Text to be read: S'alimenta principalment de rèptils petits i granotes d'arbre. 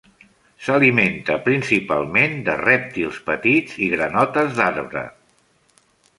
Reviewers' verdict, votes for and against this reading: accepted, 3, 0